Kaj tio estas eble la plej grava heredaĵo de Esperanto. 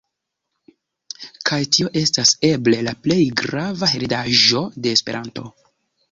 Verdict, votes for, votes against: accepted, 2, 0